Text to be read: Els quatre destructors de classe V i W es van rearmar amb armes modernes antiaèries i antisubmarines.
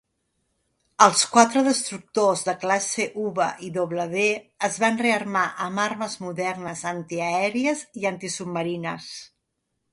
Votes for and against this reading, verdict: 1, 2, rejected